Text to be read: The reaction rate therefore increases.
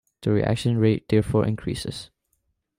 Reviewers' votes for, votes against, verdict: 2, 0, accepted